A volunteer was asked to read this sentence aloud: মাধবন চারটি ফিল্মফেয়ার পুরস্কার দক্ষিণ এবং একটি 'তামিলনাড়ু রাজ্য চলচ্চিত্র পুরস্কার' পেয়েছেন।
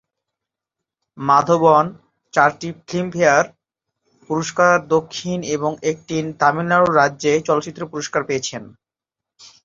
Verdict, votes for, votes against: rejected, 0, 2